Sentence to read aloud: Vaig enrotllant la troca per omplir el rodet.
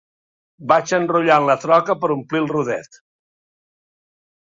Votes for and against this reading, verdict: 2, 0, accepted